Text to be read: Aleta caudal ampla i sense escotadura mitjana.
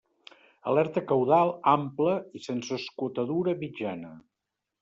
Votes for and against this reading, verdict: 0, 2, rejected